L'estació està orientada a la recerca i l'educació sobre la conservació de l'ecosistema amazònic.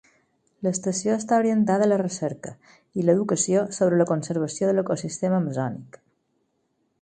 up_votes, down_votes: 4, 0